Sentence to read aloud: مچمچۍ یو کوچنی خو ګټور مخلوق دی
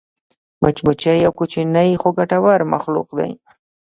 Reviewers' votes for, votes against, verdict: 1, 2, rejected